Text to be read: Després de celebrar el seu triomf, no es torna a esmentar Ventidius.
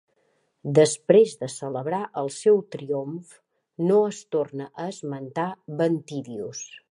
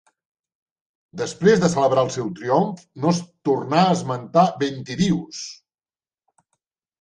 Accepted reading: first